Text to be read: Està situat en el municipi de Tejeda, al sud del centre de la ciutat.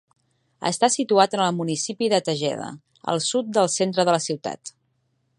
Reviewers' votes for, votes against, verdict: 2, 0, accepted